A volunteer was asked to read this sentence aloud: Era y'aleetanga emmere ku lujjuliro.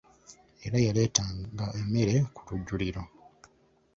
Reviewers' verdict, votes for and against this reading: rejected, 0, 2